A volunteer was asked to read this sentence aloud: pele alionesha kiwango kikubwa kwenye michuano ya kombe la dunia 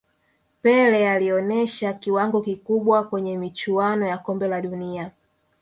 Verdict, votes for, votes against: rejected, 1, 2